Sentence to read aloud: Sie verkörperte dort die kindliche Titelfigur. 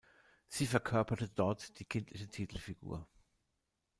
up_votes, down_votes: 2, 0